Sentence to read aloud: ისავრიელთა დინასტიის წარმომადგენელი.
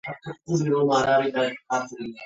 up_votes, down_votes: 0, 2